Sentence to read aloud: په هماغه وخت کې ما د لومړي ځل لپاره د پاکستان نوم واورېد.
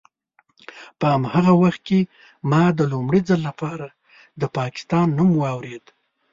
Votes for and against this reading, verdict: 2, 0, accepted